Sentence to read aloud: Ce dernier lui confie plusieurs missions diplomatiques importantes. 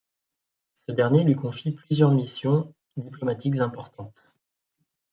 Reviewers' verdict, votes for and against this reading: rejected, 1, 2